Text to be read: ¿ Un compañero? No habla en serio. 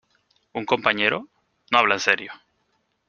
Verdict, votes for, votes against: accepted, 2, 0